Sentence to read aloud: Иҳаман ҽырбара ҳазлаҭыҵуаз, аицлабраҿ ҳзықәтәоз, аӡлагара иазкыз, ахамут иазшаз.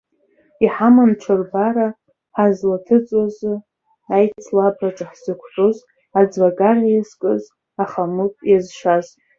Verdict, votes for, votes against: rejected, 0, 2